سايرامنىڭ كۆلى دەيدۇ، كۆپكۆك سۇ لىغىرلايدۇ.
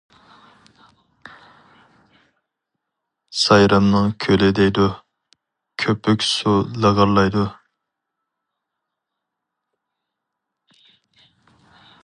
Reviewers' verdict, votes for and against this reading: rejected, 2, 2